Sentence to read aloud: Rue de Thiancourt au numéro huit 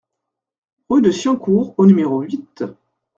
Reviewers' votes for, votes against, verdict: 1, 2, rejected